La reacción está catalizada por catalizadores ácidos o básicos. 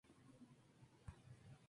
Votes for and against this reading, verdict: 0, 2, rejected